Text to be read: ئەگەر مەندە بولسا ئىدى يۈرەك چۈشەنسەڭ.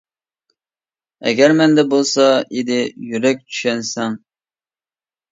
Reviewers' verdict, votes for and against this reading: accepted, 2, 0